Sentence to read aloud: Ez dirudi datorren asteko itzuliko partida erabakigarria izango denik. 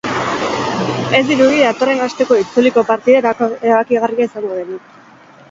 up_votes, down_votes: 2, 4